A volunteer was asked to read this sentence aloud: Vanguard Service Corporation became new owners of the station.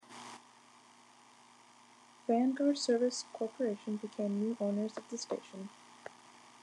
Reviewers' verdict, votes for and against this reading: accepted, 2, 0